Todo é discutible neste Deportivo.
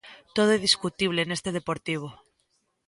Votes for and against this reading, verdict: 2, 0, accepted